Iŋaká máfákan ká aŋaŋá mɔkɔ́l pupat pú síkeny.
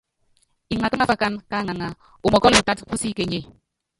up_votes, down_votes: 0, 2